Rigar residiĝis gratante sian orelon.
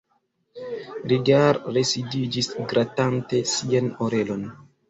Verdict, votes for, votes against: rejected, 0, 2